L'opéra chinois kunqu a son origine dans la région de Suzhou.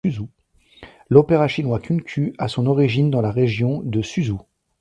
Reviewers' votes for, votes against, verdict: 0, 2, rejected